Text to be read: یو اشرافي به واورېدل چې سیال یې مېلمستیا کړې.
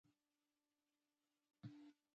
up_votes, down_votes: 0, 2